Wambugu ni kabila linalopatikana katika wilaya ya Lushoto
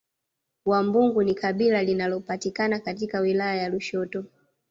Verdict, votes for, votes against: accepted, 2, 0